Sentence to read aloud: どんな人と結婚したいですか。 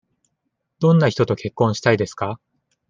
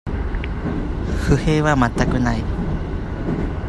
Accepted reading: first